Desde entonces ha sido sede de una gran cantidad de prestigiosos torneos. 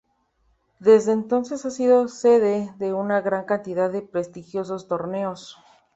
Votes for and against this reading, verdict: 3, 0, accepted